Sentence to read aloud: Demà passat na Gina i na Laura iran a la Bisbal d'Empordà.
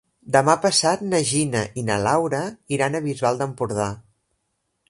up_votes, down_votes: 1, 2